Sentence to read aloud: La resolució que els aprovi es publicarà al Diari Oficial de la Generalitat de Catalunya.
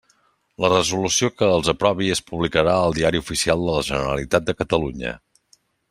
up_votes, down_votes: 3, 0